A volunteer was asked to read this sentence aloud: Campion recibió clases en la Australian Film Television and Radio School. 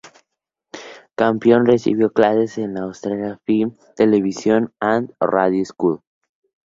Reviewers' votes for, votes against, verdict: 2, 0, accepted